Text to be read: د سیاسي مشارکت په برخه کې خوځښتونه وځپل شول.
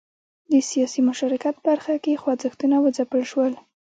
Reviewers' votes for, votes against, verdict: 2, 0, accepted